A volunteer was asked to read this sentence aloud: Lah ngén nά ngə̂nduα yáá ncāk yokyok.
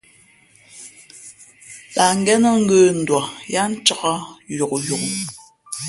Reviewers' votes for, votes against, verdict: 0, 2, rejected